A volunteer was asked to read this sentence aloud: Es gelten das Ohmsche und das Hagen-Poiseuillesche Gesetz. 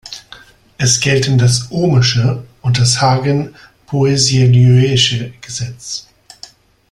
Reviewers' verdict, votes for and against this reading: rejected, 0, 2